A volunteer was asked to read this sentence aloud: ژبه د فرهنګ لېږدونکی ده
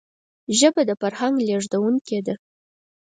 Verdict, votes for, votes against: accepted, 4, 0